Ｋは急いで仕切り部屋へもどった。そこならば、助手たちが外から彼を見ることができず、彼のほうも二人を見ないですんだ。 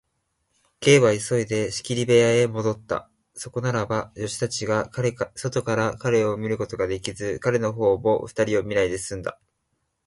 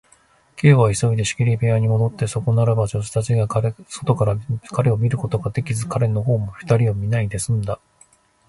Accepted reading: first